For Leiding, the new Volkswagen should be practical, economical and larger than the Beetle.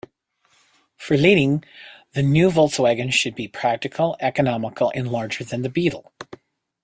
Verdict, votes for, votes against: accepted, 2, 0